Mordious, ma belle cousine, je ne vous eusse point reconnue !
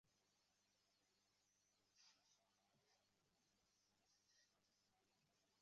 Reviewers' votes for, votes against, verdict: 0, 3, rejected